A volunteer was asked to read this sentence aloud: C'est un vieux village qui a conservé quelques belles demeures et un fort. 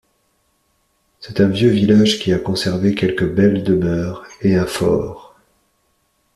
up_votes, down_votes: 2, 0